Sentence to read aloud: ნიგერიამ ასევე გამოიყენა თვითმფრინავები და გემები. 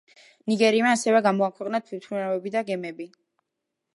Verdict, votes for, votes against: rejected, 1, 2